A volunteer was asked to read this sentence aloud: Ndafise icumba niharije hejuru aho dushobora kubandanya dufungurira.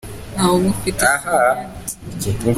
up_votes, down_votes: 0, 2